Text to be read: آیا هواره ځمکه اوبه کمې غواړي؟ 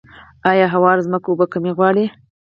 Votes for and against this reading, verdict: 2, 4, rejected